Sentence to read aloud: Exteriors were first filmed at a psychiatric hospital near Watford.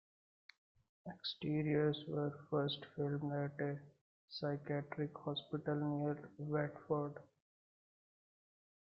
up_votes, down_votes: 1, 2